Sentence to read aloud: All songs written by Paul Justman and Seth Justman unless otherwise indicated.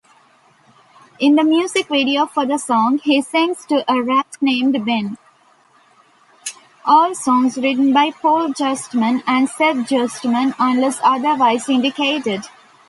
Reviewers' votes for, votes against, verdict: 0, 2, rejected